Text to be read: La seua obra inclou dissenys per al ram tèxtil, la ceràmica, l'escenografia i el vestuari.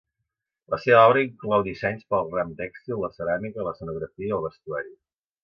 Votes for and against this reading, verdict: 0, 2, rejected